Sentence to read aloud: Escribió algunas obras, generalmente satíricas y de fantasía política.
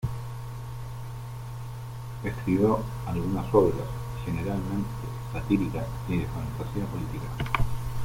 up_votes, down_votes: 0, 3